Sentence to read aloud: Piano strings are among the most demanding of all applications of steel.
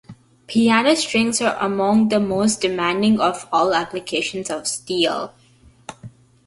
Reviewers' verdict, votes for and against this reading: accepted, 2, 0